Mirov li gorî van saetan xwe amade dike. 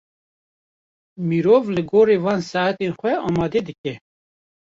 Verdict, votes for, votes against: rejected, 0, 2